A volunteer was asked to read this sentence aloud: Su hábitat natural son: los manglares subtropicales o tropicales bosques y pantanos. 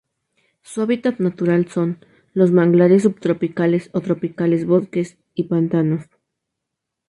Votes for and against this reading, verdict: 2, 0, accepted